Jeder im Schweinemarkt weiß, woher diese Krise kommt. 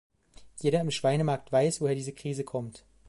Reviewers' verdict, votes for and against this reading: accepted, 2, 0